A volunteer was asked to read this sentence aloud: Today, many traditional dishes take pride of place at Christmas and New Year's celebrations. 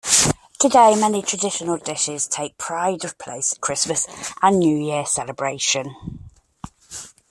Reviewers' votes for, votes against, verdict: 2, 0, accepted